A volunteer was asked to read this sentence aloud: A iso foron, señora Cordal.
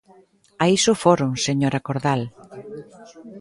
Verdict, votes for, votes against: accepted, 2, 0